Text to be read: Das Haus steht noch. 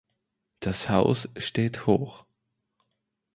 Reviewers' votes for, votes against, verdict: 0, 2, rejected